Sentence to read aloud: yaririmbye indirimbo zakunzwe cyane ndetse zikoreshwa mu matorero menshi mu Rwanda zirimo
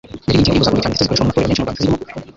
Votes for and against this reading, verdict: 0, 2, rejected